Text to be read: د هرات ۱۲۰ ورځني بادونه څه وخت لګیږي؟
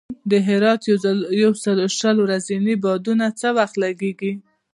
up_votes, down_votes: 0, 2